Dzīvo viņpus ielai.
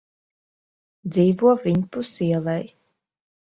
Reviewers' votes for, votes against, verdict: 2, 0, accepted